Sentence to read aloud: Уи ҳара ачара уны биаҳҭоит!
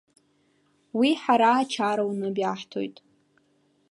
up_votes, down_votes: 2, 0